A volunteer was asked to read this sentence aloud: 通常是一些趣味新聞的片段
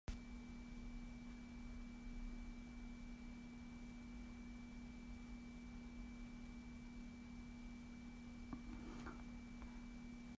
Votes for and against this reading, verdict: 0, 2, rejected